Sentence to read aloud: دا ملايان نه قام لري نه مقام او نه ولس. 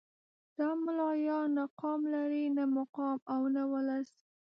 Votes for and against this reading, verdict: 0, 2, rejected